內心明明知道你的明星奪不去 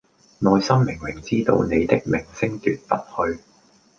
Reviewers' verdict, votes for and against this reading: accepted, 2, 0